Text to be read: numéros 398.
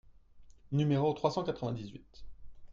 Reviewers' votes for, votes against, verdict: 0, 2, rejected